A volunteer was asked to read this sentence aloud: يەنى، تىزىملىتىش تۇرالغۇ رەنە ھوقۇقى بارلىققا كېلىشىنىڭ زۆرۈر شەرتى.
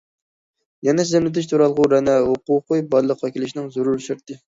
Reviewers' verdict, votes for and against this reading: rejected, 0, 2